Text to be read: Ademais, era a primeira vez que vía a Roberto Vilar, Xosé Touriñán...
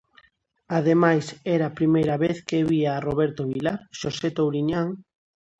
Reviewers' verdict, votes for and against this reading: accepted, 2, 0